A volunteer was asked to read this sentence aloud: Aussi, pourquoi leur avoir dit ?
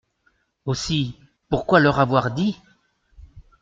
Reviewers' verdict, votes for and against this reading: accepted, 2, 0